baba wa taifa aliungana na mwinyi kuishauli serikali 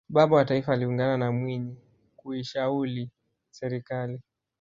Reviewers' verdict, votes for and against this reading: rejected, 1, 2